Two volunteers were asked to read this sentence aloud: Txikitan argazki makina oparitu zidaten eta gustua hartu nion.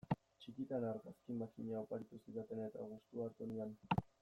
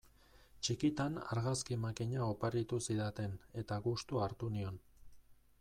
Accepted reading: second